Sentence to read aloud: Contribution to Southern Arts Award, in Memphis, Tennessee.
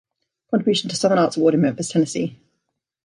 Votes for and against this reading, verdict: 1, 2, rejected